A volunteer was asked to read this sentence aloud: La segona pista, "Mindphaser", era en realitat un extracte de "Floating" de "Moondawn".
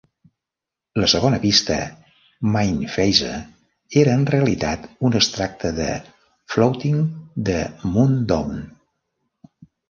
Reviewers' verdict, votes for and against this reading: rejected, 0, 2